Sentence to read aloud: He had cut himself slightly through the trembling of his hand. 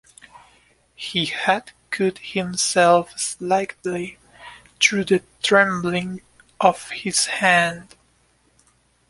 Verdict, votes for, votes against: accepted, 2, 0